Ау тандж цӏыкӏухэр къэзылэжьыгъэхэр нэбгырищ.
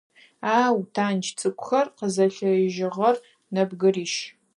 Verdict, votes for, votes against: rejected, 2, 4